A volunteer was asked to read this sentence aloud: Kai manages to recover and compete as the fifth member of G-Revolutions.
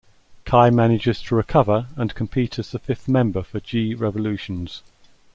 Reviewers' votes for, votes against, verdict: 1, 2, rejected